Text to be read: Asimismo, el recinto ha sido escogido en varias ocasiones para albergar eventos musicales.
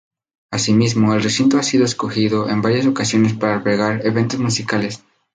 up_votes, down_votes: 0, 2